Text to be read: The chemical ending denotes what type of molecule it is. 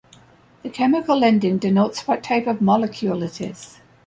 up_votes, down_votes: 1, 2